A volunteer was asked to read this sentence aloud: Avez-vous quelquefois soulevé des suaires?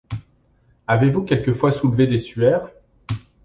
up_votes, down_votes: 2, 0